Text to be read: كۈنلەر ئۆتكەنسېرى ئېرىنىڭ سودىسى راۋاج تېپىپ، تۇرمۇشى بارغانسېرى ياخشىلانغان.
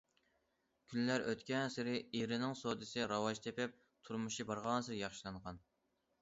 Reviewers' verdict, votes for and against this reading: accepted, 2, 0